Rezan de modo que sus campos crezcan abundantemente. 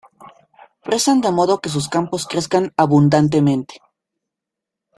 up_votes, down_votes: 2, 0